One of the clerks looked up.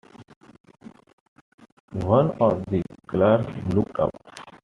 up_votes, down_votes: 0, 2